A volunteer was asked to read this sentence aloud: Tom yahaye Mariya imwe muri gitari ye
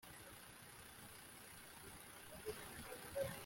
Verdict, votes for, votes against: rejected, 0, 2